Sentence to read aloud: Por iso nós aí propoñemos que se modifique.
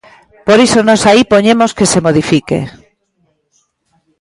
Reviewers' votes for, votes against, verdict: 0, 2, rejected